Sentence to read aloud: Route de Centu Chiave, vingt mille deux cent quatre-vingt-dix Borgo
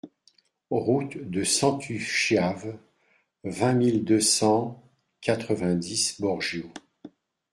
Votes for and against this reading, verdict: 1, 2, rejected